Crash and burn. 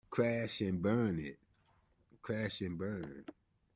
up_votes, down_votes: 0, 2